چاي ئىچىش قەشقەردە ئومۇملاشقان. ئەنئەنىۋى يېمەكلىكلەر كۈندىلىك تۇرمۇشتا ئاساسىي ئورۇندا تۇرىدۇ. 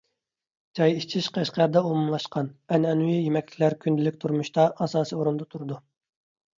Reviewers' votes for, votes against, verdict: 2, 0, accepted